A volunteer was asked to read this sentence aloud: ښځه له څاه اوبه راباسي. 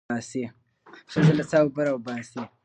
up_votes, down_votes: 1, 2